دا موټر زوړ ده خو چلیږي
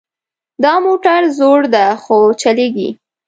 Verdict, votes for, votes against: accepted, 2, 0